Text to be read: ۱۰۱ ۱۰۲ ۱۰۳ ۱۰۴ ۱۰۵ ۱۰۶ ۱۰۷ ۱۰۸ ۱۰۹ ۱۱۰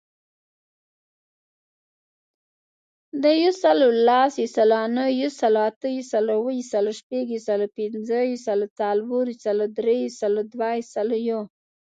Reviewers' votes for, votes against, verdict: 0, 2, rejected